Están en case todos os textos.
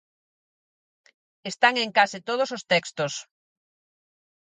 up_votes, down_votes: 4, 0